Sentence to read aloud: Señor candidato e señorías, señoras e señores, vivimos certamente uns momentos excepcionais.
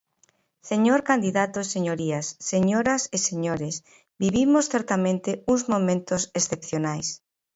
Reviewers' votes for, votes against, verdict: 2, 0, accepted